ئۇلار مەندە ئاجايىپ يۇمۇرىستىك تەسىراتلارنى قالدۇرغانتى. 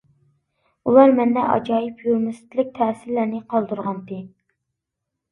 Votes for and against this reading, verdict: 0, 2, rejected